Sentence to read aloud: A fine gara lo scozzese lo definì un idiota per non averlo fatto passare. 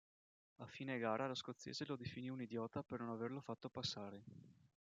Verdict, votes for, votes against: rejected, 1, 3